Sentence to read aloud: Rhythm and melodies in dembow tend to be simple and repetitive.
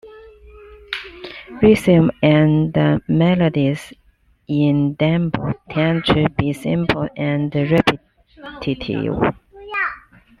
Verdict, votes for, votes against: rejected, 1, 2